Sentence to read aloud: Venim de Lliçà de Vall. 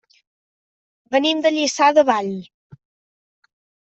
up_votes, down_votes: 3, 0